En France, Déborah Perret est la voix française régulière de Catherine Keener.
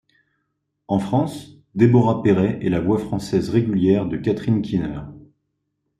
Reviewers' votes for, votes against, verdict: 3, 0, accepted